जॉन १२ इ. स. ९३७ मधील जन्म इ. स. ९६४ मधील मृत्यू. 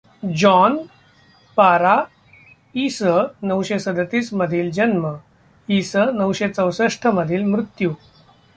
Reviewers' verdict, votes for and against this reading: rejected, 0, 2